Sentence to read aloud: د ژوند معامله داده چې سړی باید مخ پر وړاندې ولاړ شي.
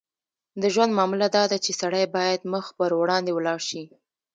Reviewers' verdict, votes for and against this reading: accepted, 2, 0